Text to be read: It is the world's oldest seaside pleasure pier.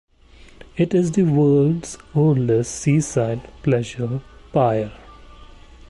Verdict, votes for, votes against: accepted, 2, 0